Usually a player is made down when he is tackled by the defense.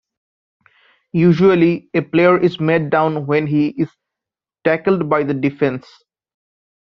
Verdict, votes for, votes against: accepted, 2, 1